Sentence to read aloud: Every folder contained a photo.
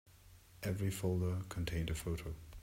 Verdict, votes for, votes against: accepted, 2, 0